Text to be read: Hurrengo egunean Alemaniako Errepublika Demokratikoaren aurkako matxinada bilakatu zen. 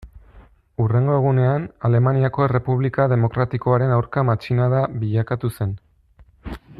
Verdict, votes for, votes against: rejected, 1, 2